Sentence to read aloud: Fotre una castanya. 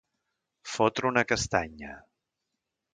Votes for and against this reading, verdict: 2, 0, accepted